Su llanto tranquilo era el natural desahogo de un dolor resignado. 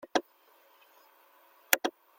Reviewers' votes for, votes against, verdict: 0, 2, rejected